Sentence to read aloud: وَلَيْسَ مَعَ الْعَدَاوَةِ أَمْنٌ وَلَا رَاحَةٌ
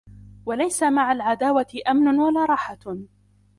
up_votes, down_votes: 2, 0